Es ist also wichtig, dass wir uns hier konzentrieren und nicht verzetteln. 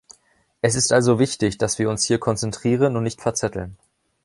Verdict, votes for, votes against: accepted, 2, 0